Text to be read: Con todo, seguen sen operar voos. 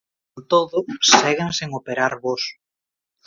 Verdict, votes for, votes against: rejected, 0, 2